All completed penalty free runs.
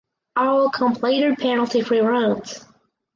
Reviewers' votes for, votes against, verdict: 0, 4, rejected